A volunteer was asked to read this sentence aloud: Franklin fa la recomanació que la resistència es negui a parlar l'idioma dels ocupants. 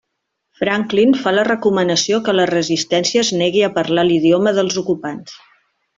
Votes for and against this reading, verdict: 2, 0, accepted